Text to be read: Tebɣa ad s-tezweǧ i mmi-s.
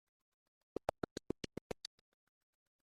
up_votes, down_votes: 0, 2